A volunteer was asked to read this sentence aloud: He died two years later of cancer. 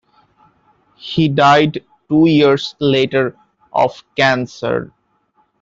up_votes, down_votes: 2, 1